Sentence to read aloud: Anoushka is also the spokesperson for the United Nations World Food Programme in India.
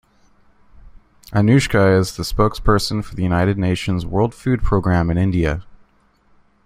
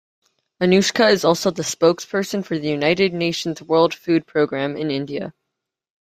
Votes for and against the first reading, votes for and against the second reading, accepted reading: 1, 2, 2, 0, second